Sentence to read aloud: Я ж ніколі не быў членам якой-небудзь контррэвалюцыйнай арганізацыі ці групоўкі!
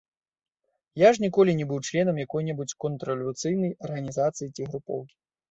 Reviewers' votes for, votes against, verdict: 2, 0, accepted